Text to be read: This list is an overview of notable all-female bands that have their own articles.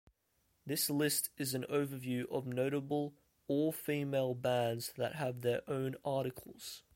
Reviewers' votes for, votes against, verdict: 2, 0, accepted